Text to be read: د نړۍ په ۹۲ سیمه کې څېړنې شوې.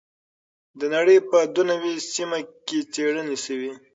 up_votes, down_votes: 0, 2